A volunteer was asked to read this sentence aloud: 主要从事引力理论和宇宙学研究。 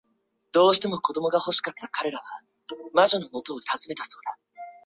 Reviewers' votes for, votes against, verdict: 0, 2, rejected